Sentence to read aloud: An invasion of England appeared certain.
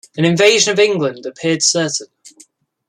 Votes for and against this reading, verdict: 2, 0, accepted